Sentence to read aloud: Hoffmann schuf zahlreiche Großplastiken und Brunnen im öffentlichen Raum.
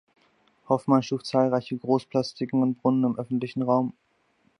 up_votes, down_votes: 2, 0